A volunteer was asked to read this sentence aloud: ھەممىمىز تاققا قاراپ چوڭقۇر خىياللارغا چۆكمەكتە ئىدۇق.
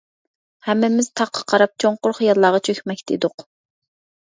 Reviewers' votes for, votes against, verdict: 2, 0, accepted